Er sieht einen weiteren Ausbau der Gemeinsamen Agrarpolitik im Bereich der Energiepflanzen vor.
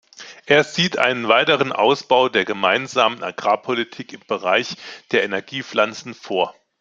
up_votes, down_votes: 2, 0